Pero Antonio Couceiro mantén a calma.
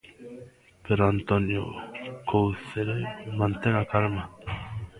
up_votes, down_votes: 0, 2